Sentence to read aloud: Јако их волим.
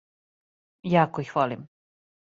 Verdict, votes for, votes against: accepted, 2, 0